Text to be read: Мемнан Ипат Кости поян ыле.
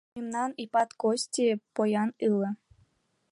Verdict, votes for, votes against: rejected, 0, 2